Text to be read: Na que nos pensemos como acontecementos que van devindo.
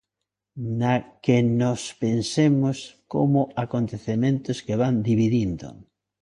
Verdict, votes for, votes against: rejected, 0, 2